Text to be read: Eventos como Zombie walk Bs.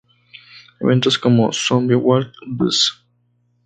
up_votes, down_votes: 2, 2